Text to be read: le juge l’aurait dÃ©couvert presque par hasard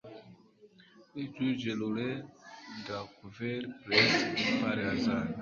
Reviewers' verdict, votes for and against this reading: rejected, 1, 2